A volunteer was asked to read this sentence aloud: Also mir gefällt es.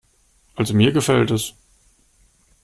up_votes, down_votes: 2, 0